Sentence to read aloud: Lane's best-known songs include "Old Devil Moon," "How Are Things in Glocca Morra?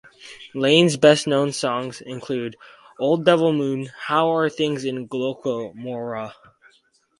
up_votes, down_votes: 2, 4